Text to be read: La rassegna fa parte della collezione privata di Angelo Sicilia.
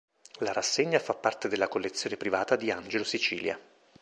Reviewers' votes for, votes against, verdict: 2, 0, accepted